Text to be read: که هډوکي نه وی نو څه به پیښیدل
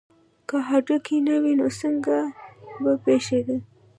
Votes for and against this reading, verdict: 1, 2, rejected